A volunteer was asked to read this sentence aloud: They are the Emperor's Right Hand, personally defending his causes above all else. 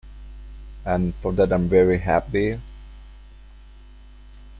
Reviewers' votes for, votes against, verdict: 0, 2, rejected